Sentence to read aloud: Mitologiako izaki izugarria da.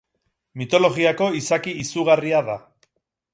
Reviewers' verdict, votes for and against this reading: accepted, 8, 2